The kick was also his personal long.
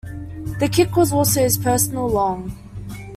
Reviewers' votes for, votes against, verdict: 1, 2, rejected